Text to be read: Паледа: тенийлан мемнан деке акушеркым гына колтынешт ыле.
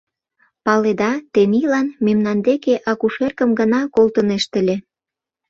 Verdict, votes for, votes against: accepted, 2, 0